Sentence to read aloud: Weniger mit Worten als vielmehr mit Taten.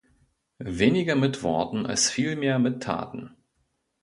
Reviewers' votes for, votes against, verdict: 2, 0, accepted